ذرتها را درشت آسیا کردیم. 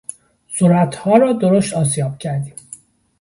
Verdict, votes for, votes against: rejected, 1, 2